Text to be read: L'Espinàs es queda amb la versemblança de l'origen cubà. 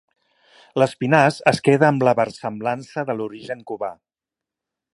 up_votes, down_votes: 2, 0